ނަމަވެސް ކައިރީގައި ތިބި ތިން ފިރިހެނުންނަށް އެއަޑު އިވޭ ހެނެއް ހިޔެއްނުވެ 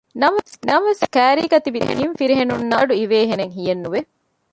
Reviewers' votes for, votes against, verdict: 0, 2, rejected